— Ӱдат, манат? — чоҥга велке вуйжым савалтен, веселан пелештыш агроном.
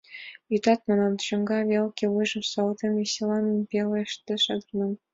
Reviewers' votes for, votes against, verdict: 2, 0, accepted